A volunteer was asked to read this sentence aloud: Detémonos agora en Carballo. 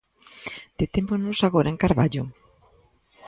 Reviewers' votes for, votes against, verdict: 2, 0, accepted